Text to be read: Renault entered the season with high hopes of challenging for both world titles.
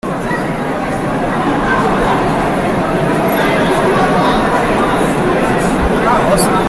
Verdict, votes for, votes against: rejected, 0, 2